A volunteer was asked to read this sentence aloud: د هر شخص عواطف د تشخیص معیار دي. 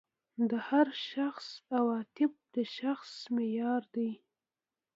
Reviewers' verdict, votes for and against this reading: rejected, 1, 2